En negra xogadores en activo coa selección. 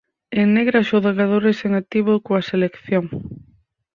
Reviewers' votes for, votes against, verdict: 0, 4, rejected